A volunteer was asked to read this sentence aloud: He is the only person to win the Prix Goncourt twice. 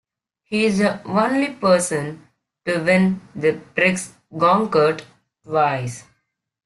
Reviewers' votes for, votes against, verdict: 1, 2, rejected